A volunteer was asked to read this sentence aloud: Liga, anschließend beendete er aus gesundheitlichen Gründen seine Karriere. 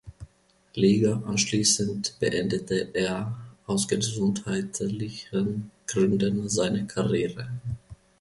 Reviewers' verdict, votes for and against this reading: rejected, 0, 2